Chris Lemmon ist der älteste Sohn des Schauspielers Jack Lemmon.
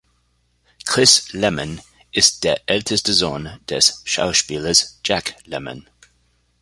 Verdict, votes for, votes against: accepted, 2, 0